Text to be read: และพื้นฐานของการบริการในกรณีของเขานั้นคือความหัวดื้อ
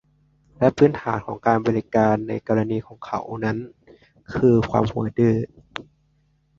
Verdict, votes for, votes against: accepted, 2, 0